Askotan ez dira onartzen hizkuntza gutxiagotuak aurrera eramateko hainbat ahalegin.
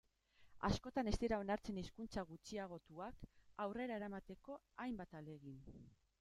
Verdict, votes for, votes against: rejected, 1, 2